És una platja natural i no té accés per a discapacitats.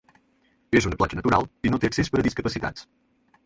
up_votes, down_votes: 4, 0